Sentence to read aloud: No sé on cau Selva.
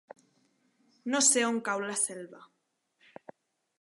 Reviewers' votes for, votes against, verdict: 0, 2, rejected